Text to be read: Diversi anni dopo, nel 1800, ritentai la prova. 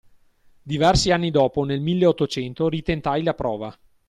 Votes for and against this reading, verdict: 0, 2, rejected